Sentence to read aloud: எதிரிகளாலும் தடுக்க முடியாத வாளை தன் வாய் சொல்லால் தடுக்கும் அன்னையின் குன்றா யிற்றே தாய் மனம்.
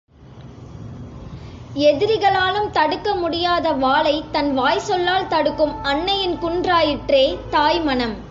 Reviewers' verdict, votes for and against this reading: accepted, 2, 0